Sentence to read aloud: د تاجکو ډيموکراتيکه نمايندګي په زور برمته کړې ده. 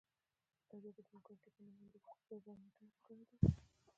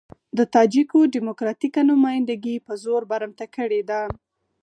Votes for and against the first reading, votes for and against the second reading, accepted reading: 0, 2, 4, 0, second